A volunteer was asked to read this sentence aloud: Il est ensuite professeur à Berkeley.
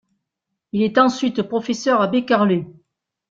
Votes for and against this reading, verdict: 1, 2, rejected